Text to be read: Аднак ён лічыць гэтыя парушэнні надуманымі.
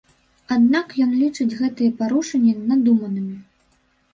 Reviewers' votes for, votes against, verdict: 0, 2, rejected